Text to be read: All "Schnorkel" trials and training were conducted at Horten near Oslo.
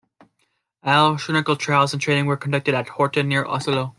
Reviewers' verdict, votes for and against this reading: accepted, 2, 1